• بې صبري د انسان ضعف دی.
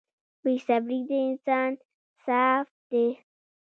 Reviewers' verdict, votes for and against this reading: rejected, 1, 2